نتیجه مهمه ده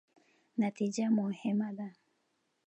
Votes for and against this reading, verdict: 2, 1, accepted